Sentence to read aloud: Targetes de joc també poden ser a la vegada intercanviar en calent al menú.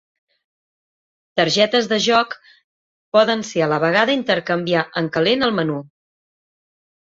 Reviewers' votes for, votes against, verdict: 0, 4, rejected